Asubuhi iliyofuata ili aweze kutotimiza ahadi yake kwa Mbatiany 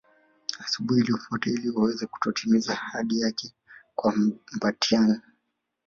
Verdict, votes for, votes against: rejected, 2, 3